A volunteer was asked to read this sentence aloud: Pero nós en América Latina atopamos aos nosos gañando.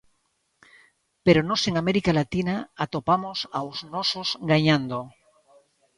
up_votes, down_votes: 2, 0